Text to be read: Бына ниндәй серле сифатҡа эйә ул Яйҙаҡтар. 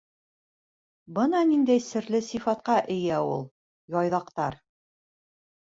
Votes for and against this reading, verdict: 2, 0, accepted